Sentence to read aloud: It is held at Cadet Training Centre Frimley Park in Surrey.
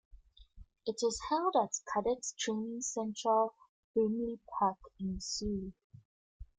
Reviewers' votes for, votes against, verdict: 1, 2, rejected